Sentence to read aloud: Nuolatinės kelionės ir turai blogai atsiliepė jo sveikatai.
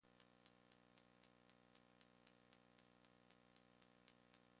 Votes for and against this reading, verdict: 0, 2, rejected